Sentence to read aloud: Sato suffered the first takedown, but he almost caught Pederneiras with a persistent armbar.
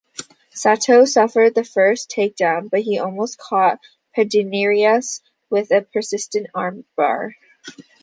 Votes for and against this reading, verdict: 2, 0, accepted